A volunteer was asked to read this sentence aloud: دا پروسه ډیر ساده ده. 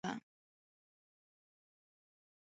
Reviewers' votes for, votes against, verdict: 0, 2, rejected